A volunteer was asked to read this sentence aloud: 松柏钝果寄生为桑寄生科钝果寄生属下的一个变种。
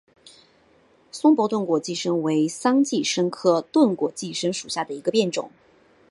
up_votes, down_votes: 3, 1